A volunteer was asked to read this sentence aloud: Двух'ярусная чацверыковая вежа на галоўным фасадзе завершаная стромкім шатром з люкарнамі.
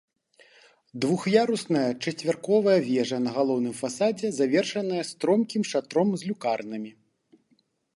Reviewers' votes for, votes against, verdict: 1, 2, rejected